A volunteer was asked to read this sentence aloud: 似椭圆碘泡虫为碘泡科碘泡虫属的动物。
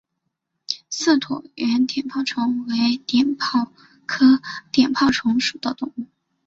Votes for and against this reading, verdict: 7, 2, accepted